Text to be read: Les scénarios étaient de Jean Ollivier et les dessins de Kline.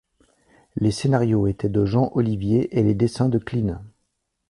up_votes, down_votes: 2, 0